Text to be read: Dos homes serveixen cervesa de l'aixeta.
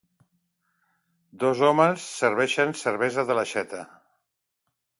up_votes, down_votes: 2, 0